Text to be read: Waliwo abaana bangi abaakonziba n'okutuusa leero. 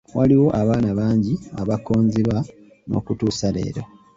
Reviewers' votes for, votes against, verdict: 1, 2, rejected